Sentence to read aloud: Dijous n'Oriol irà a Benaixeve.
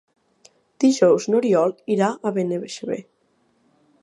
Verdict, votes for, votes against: rejected, 0, 2